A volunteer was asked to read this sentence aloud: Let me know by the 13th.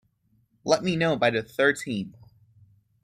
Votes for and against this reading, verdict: 0, 2, rejected